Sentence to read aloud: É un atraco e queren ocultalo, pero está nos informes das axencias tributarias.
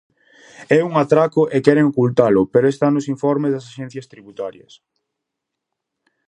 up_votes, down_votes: 2, 0